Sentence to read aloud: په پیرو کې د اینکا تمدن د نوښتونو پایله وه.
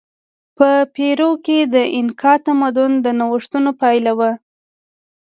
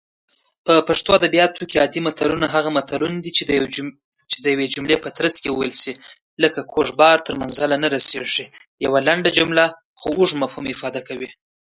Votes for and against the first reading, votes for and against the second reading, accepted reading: 2, 0, 0, 2, first